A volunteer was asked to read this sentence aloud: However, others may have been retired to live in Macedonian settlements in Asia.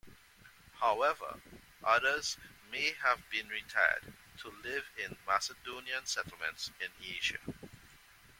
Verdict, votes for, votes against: accepted, 2, 1